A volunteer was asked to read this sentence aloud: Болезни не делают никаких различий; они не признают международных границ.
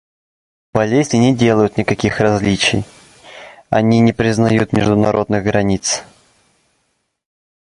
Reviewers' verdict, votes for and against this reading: accepted, 2, 1